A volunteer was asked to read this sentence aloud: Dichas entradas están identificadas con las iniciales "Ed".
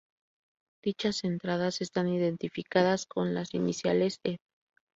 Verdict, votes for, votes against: rejected, 0, 2